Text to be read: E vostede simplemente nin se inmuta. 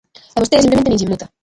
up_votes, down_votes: 0, 2